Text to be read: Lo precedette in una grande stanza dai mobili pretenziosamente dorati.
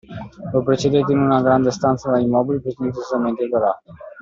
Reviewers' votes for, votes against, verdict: 2, 1, accepted